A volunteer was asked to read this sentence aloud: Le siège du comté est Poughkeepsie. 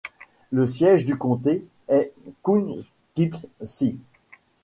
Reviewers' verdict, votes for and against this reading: accepted, 2, 0